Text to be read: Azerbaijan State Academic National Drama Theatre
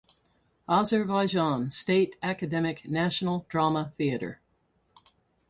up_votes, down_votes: 2, 2